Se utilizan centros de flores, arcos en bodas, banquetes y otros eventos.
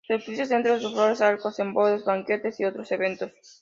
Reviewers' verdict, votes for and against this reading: accepted, 2, 0